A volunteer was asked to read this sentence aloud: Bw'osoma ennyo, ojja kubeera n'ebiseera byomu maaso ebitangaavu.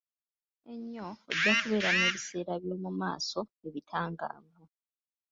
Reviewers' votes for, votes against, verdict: 1, 2, rejected